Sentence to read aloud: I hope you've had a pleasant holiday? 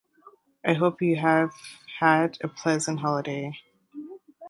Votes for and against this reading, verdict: 1, 2, rejected